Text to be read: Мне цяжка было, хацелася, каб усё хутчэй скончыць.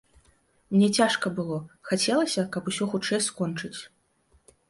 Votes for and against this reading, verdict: 2, 0, accepted